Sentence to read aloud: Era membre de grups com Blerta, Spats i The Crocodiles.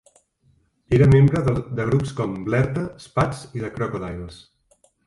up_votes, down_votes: 0, 2